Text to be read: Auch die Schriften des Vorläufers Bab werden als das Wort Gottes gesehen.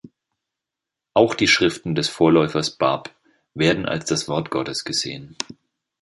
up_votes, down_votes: 2, 0